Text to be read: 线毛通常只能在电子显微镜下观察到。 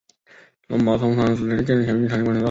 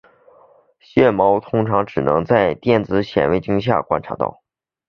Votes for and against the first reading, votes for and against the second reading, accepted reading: 0, 2, 4, 0, second